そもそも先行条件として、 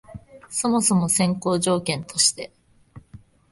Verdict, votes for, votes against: accepted, 2, 0